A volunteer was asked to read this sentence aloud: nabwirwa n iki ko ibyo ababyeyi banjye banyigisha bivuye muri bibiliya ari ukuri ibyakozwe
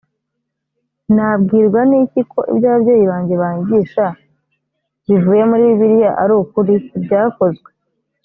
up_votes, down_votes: 2, 0